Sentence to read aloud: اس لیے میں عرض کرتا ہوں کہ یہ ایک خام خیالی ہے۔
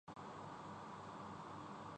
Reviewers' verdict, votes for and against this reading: rejected, 0, 2